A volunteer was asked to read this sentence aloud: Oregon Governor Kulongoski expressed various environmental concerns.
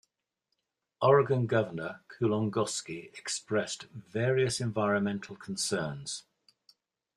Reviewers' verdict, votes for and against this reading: accepted, 2, 0